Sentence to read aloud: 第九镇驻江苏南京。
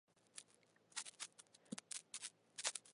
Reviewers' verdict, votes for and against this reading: accepted, 4, 2